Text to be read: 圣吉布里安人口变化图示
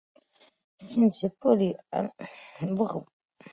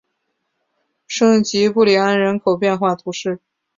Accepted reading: second